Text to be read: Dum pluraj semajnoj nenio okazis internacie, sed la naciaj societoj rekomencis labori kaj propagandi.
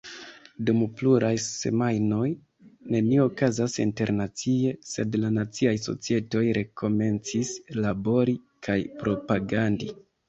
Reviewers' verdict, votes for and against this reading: rejected, 0, 2